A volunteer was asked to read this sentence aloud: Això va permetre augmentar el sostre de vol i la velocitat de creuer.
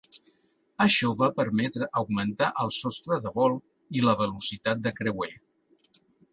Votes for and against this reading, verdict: 2, 0, accepted